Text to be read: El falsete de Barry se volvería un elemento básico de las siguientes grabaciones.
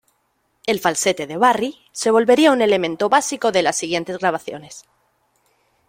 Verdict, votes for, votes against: rejected, 1, 2